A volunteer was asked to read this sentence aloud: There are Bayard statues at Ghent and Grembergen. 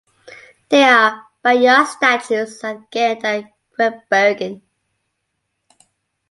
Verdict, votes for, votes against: rejected, 0, 2